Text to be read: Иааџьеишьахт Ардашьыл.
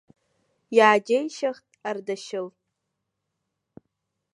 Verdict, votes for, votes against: rejected, 0, 2